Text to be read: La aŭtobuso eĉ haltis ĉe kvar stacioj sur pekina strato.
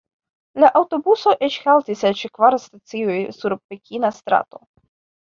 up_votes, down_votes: 2, 1